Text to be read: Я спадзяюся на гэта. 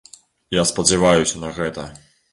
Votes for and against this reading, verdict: 0, 2, rejected